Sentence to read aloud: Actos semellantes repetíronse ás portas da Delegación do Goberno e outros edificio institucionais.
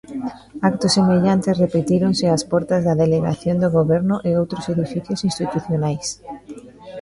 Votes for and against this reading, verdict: 0, 2, rejected